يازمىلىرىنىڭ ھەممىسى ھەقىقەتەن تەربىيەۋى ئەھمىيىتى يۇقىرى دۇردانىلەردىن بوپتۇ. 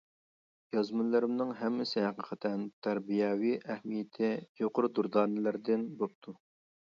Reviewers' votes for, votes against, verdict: 1, 2, rejected